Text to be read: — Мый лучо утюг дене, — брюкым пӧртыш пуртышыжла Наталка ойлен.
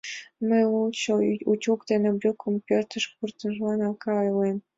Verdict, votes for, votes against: rejected, 1, 2